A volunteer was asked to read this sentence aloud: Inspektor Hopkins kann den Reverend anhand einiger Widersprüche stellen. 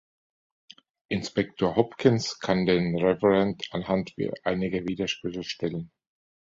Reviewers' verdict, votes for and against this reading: accepted, 2, 1